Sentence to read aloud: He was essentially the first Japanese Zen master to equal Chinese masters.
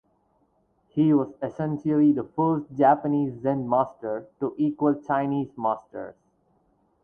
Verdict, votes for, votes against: rejected, 0, 2